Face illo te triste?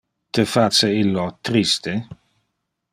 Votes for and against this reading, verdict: 0, 2, rejected